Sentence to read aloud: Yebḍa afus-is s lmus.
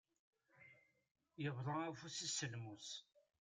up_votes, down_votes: 1, 2